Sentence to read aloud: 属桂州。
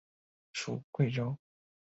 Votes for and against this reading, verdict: 2, 0, accepted